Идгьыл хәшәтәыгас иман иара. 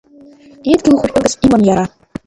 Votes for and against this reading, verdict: 1, 3, rejected